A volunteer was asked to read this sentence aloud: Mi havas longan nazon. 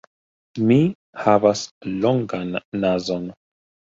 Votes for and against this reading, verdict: 2, 0, accepted